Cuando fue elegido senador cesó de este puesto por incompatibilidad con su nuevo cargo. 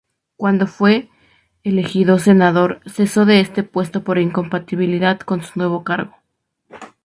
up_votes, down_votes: 8, 2